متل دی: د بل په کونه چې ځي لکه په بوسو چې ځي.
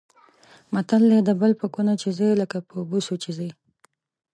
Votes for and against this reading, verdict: 0, 2, rejected